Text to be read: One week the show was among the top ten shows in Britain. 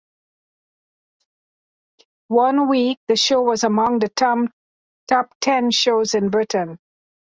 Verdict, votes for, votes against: rejected, 1, 2